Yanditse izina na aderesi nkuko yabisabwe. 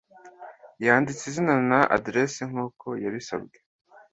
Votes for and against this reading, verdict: 2, 0, accepted